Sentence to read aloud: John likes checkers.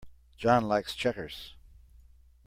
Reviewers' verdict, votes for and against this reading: accepted, 2, 0